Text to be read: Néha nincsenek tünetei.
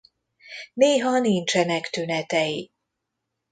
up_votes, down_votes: 2, 0